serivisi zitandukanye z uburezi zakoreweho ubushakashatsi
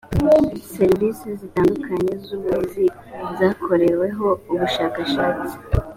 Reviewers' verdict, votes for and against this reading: accepted, 2, 0